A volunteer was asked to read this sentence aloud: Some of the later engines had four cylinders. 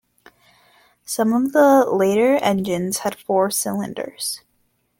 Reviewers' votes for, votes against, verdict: 2, 0, accepted